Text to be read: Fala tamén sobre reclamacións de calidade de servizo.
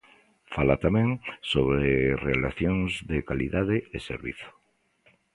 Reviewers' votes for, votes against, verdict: 0, 2, rejected